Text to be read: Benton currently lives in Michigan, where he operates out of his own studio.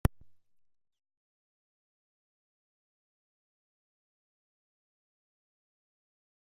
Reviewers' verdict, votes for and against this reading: rejected, 0, 2